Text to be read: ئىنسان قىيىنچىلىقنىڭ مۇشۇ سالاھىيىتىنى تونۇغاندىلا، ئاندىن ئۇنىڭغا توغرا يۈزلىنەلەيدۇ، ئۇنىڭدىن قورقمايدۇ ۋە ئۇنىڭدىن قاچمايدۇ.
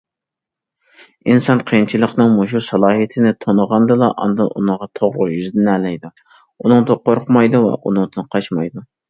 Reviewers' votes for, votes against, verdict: 2, 0, accepted